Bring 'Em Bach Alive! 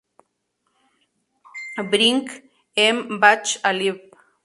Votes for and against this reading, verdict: 0, 2, rejected